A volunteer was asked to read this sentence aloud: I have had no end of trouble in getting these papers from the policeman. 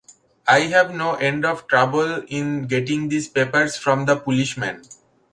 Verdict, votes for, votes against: rejected, 0, 2